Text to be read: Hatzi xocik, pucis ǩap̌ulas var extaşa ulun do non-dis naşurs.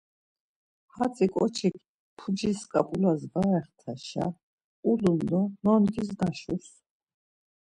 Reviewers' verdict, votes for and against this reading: rejected, 1, 2